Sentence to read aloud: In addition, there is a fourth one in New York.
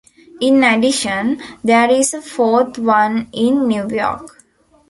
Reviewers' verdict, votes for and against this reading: accepted, 2, 0